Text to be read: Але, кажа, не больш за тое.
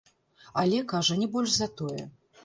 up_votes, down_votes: 0, 2